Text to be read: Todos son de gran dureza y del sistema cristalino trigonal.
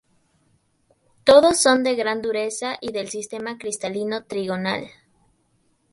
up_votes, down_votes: 2, 0